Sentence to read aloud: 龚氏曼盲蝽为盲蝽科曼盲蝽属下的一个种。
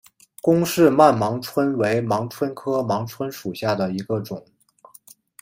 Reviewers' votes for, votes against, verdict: 1, 2, rejected